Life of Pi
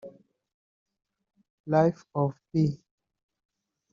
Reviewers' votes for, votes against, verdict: 0, 2, rejected